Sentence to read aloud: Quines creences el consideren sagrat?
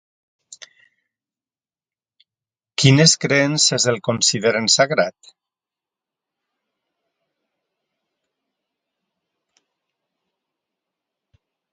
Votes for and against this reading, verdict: 2, 0, accepted